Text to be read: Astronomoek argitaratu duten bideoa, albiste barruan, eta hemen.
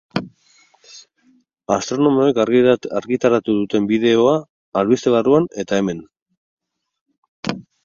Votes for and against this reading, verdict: 0, 4, rejected